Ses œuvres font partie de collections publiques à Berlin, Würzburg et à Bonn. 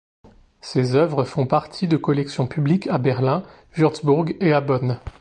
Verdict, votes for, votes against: accepted, 2, 0